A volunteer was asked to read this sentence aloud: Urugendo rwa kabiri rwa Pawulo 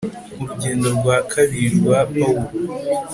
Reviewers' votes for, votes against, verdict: 3, 0, accepted